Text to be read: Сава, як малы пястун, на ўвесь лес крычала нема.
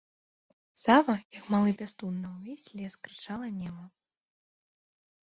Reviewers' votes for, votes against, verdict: 0, 2, rejected